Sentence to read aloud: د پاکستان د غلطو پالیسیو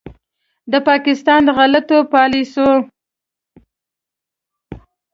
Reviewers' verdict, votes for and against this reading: accepted, 2, 0